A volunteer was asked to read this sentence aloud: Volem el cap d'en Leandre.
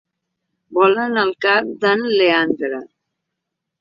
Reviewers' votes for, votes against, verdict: 2, 3, rejected